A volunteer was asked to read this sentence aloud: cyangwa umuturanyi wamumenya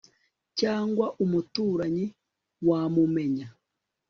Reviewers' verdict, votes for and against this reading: accepted, 2, 0